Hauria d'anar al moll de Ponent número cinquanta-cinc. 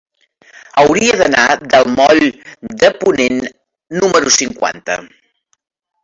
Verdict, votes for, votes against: rejected, 0, 2